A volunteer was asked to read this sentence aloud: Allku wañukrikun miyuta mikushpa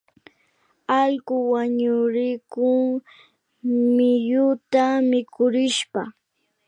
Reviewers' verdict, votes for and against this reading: rejected, 0, 2